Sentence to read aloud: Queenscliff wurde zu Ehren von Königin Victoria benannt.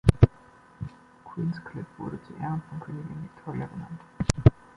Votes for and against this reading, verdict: 1, 2, rejected